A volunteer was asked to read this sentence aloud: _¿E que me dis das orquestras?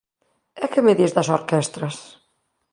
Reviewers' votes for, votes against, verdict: 2, 0, accepted